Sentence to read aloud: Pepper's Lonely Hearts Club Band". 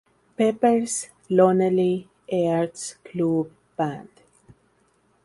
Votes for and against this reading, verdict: 2, 2, rejected